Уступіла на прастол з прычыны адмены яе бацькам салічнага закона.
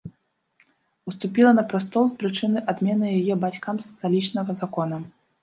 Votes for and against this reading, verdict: 1, 2, rejected